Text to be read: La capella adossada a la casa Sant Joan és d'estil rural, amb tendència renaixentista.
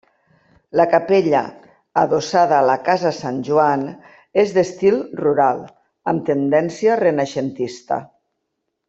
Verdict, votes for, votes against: accepted, 3, 0